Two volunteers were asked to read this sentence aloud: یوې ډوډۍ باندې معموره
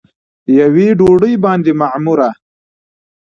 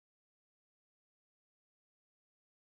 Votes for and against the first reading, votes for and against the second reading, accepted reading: 2, 1, 0, 2, first